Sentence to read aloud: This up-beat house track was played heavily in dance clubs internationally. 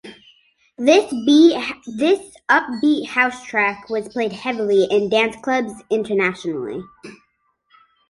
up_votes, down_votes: 0, 3